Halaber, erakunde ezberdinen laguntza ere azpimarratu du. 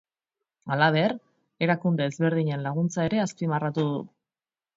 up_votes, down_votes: 2, 0